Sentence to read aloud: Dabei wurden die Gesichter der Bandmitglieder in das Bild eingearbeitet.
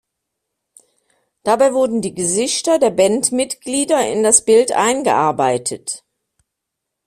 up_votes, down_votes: 2, 0